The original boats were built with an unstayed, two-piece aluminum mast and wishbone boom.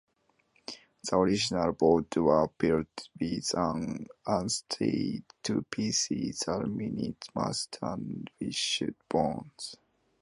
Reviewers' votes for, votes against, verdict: 0, 2, rejected